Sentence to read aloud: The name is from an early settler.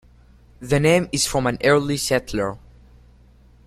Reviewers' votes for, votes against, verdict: 2, 0, accepted